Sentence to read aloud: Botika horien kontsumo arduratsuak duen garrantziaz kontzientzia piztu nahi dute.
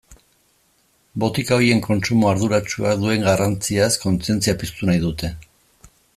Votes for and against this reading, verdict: 1, 2, rejected